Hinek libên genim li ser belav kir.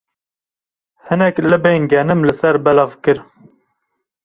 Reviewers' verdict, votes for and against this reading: accepted, 2, 0